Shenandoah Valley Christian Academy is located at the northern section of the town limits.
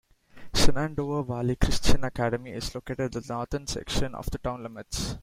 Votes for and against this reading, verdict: 2, 1, accepted